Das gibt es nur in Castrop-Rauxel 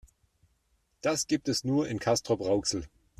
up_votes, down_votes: 2, 0